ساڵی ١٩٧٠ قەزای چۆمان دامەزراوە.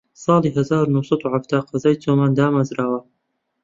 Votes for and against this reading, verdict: 0, 2, rejected